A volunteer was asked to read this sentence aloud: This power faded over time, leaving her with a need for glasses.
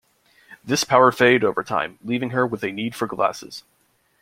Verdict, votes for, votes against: accepted, 2, 0